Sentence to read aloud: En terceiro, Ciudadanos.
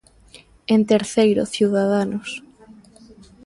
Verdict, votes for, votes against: rejected, 1, 2